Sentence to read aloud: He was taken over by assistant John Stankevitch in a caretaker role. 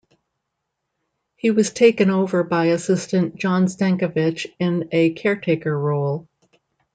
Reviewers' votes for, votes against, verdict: 1, 2, rejected